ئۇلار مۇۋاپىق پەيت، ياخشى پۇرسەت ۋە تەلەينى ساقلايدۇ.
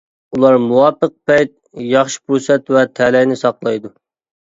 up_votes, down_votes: 2, 0